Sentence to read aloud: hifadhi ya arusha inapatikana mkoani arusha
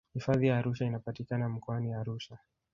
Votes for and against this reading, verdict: 2, 0, accepted